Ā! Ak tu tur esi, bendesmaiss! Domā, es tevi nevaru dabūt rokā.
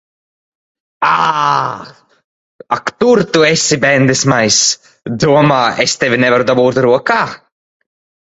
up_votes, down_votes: 1, 2